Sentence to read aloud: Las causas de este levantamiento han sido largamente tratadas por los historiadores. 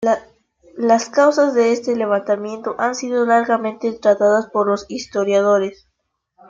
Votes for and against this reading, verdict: 2, 1, accepted